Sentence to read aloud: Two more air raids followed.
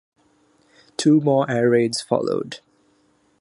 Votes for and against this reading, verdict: 0, 3, rejected